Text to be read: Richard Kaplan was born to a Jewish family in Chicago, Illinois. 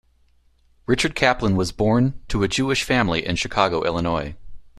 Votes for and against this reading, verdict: 2, 0, accepted